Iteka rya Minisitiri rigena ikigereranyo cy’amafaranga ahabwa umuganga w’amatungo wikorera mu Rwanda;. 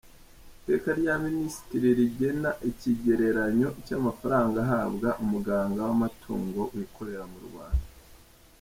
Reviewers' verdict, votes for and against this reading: accepted, 2, 1